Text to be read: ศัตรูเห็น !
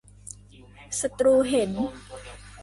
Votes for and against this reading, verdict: 2, 0, accepted